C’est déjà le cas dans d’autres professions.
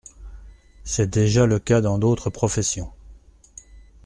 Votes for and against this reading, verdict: 2, 0, accepted